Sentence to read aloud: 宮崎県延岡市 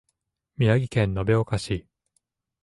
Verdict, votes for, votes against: rejected, 1, 2